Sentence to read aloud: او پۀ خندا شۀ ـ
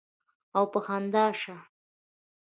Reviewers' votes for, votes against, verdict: 2, 0, accepted